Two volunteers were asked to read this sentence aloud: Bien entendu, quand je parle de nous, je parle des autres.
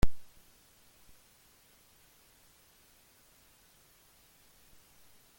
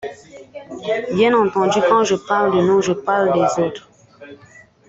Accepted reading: second